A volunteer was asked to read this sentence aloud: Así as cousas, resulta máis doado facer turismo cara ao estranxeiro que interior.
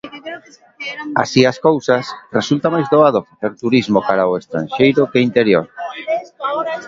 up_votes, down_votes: 1, 2